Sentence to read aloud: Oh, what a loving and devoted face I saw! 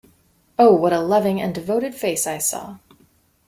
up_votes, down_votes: 2, 0